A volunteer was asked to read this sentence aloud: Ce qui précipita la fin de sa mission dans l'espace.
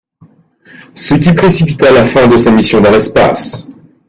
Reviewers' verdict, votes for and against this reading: accepted, 2, 0